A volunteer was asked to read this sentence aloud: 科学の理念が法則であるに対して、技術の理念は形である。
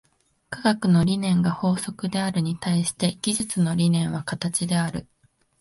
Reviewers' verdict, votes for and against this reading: accepted, 2, 0